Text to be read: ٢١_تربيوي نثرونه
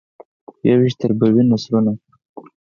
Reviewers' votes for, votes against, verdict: 0, 2, rejected